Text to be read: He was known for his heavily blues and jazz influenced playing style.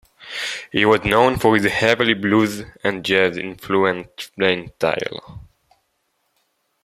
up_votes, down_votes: 0, 2